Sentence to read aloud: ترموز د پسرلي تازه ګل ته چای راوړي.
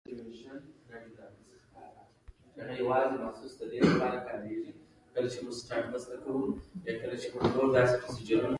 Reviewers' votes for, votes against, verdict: 0, 2, rejected